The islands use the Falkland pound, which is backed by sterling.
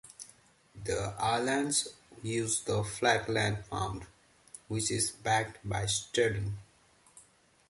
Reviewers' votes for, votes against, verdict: 2, 1, accepted